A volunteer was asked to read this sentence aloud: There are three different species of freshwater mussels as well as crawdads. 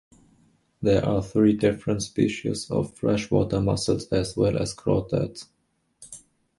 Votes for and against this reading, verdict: 0, 2, rejected